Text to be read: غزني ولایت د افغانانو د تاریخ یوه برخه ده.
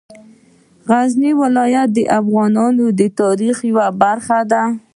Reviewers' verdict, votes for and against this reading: accepted, 2, 0